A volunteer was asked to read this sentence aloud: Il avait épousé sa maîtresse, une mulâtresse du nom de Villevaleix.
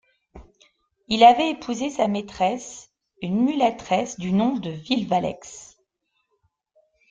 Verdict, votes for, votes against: accepted, 2, 0